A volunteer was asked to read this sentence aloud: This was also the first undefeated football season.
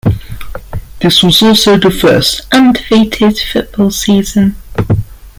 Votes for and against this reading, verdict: 2, 1, accepted